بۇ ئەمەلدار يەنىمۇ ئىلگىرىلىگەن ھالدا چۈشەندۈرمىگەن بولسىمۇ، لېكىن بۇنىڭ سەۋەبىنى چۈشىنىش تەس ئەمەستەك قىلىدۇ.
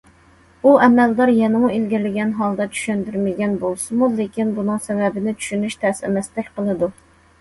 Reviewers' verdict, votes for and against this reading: accepted, 2, 0